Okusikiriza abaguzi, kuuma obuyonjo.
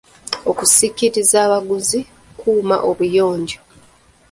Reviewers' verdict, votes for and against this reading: accepted, 2, 0